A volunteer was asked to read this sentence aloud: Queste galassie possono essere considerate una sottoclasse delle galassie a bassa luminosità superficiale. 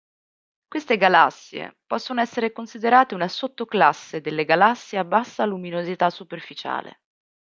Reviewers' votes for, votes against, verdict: 2, 0, accepted